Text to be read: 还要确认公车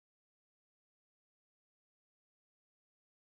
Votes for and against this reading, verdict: 0, 3, rejected